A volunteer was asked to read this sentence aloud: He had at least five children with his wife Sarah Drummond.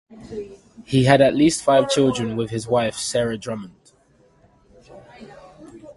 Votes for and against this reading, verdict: 1, 2, rejected